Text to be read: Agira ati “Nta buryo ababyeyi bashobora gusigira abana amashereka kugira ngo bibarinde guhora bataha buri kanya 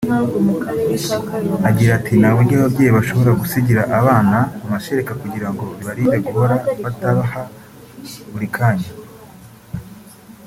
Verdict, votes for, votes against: rejected, 1, 2